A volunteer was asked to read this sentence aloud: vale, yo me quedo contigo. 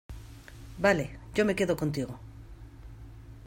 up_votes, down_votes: 2, 0